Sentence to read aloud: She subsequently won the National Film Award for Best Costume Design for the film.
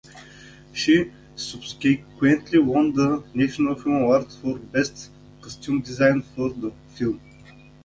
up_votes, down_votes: 0, 2